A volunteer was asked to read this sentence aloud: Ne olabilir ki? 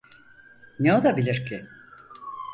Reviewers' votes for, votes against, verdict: 4, 0, accepted